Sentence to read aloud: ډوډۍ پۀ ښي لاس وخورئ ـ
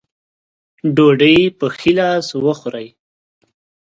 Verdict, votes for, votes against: accepted, 2, 0